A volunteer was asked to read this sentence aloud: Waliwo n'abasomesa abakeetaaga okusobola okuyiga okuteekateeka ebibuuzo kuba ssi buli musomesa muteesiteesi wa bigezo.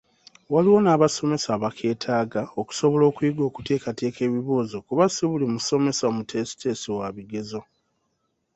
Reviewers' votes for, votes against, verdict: 2, 0, accepted